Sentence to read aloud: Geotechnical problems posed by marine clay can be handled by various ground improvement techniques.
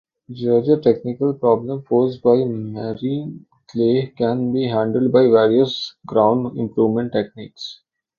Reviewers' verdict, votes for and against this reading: rejected, 0, 2